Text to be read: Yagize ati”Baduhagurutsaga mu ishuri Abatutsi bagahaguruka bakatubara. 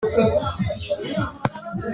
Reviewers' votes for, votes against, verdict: 0, 2, rejected